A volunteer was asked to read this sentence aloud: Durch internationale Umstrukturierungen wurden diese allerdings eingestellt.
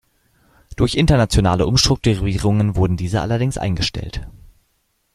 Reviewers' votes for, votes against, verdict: 1, 2, rejected